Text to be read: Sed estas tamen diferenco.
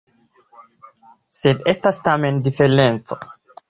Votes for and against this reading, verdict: 4, 0, accepted